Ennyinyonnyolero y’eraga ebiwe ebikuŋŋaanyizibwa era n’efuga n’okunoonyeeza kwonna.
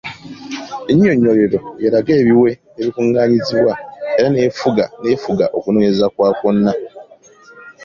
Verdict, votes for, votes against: rejected, 1, 2